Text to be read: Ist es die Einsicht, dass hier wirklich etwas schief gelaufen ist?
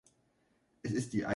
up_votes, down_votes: 0, 3